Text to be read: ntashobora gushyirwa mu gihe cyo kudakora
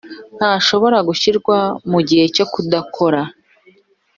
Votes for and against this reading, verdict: 2, 0, accepted